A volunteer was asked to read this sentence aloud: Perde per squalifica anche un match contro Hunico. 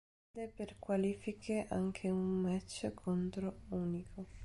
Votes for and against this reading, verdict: 0, 2, rejected